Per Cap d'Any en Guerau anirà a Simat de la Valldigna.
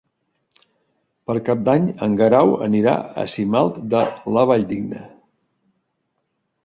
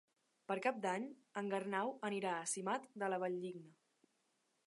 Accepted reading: first